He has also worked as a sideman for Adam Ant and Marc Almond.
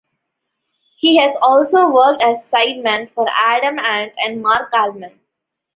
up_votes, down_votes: 1, 2